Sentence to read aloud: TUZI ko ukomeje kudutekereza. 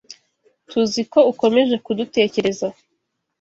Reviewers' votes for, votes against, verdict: 2, 0, accepted